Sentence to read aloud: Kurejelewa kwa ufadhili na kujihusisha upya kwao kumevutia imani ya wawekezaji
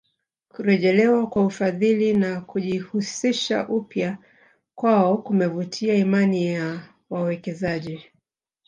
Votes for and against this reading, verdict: 2, 1, accepted